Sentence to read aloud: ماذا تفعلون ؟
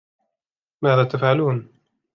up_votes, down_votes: 1, 2